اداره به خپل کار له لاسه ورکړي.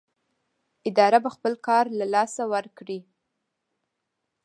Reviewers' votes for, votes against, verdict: 2, 1, accepted